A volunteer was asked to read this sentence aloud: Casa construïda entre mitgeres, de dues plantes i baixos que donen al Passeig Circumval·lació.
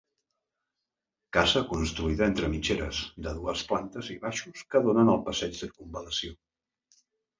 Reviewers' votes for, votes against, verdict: 2, 1, accepted